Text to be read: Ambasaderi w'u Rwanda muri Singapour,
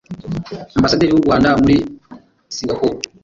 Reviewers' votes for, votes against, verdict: 1, 2, rejected